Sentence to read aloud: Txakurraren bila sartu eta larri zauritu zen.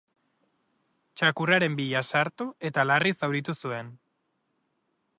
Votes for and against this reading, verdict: 0, 2, rejected